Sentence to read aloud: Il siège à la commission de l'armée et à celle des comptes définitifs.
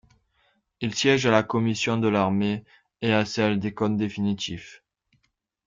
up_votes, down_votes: 1, 2